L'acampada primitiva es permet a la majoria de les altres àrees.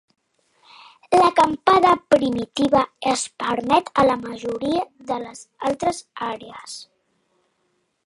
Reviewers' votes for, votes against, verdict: 2, 0, accepted